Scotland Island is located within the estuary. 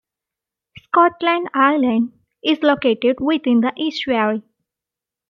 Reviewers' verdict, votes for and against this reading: accepted, 2, 0